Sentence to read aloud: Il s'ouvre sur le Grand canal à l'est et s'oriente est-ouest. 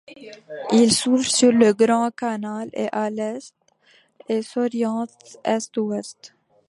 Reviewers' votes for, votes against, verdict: 0, 2, rejected